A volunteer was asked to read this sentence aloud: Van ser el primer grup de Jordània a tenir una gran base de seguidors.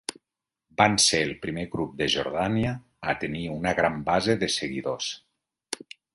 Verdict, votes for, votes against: accepted, 2, 0